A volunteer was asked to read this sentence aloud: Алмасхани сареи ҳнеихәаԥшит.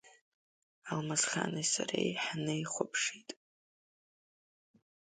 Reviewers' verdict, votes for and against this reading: accepted, 2, 0